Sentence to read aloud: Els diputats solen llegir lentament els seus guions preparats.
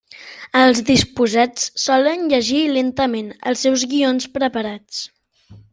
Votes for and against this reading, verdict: 1, 2, rejected